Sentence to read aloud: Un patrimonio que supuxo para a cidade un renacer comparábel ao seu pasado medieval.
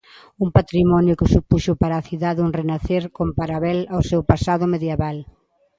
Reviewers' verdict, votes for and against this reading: rejected, 1, 2